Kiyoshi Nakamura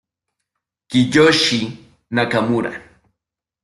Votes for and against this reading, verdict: 2, 0, accepted